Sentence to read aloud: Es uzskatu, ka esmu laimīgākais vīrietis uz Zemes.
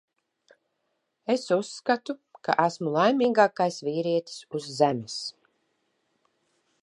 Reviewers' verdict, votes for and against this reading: accepted, 2, 0